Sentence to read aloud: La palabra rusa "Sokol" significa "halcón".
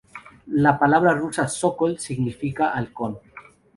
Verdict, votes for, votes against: accepted, 2, 0